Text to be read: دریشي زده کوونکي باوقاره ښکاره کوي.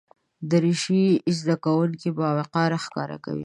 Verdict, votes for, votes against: accepted, 2, 0